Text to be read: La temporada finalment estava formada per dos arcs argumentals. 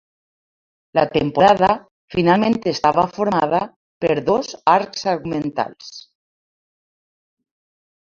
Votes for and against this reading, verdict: 1, 2, rejected